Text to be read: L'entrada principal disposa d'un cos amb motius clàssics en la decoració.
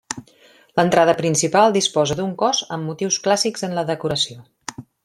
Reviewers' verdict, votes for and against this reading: accepted, 3, 0